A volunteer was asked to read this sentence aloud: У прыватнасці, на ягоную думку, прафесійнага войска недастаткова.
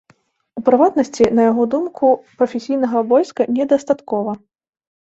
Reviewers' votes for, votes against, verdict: 1, 2, rejected